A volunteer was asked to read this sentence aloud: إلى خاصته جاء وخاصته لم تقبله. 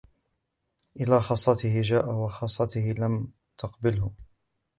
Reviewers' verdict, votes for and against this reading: rejected, 0, 2